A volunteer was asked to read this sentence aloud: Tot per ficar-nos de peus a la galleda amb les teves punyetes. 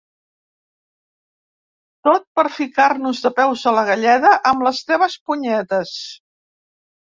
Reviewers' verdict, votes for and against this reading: accepted, 2, 0